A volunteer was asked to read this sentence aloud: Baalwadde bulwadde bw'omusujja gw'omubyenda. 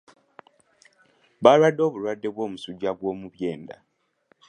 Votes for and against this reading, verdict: 1, 2, rejected